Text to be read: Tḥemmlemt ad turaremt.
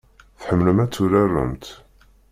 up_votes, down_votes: 1, 2